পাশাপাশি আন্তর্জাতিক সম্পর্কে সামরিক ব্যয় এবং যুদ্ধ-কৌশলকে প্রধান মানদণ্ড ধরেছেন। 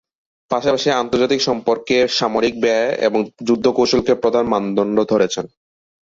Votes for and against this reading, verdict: 2, 1, accepted